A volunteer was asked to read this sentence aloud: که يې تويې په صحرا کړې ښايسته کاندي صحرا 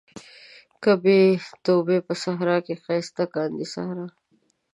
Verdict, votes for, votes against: rejected, 0, 2